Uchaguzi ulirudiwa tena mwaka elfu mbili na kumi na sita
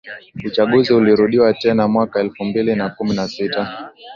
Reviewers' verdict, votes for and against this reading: accepted, 2, 0